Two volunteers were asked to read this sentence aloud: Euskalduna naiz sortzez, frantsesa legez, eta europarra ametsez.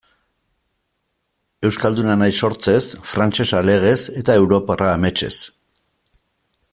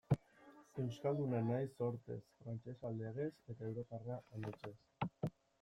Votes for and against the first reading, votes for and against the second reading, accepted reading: 2, 0, 0, 2, first